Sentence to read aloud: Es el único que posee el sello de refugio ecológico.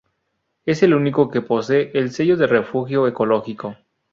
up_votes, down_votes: 0, 2